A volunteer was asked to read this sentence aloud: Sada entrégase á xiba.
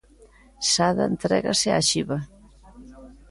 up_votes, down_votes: 2, 0